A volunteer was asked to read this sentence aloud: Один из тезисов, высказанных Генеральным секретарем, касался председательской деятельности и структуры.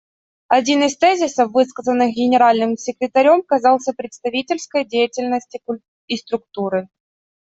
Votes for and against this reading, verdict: 0, 2, rejected